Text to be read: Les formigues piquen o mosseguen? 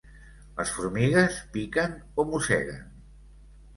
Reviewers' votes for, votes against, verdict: 2, 0, accepted